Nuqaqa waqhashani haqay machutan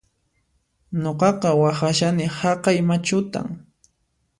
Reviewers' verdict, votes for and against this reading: accepted, 2, 0